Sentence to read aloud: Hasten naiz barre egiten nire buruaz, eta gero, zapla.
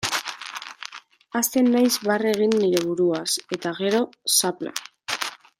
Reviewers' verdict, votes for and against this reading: rejected, 0, 2